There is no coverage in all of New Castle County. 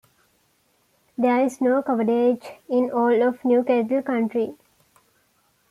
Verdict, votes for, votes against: accepted, 2, 1